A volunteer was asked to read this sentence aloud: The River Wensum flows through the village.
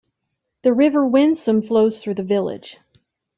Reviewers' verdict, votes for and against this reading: accepted, 2, 0